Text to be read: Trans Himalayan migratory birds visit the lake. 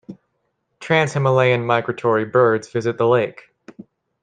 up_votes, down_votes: 2, 0